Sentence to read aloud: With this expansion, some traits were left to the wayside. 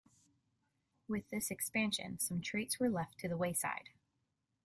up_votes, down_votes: 2, 0